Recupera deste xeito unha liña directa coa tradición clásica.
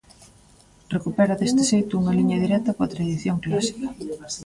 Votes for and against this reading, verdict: 0, 2, rejected